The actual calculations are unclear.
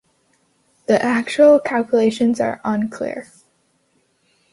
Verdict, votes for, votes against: accepted, 2, 0